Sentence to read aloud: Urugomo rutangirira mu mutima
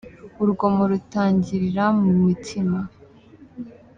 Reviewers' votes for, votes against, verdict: 2, 0, accepted